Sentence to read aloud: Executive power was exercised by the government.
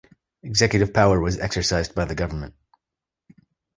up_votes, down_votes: 2, 0